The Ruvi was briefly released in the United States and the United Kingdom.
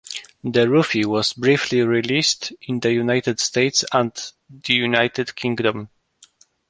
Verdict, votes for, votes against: accepted, 2, 0